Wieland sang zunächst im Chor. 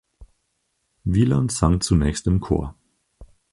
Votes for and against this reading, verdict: 4, 0, accepted